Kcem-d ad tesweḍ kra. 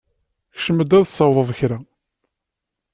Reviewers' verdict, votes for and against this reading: rejected, 1, 2